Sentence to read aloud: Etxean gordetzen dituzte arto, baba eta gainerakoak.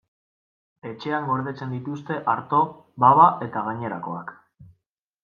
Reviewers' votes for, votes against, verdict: 2, 0, accepted